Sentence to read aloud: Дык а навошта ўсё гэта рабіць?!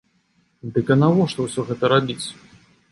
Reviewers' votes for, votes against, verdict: 2, 0, accepted